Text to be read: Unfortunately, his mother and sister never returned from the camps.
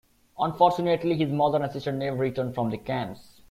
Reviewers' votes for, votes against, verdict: 2, 1, accepted